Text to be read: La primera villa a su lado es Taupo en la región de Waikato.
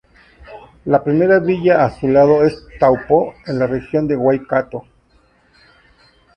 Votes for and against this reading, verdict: 4, 2, accepted